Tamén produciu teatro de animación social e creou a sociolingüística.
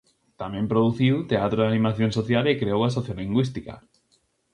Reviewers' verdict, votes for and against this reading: accepted, 2, 0